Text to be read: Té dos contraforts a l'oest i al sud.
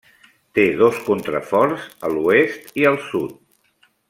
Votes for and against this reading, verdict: 3, 0, accepted